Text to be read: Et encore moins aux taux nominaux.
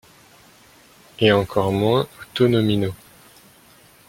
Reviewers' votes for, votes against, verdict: 0, 2, rejected